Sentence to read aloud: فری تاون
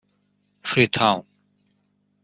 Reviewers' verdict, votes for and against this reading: rejected, 1, 2